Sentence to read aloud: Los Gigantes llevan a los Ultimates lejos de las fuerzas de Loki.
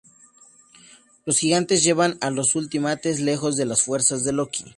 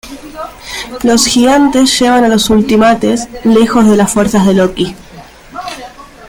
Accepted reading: first